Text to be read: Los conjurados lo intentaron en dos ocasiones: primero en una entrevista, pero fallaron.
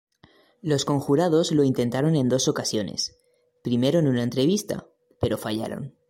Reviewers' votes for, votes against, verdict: 2, 0, accepted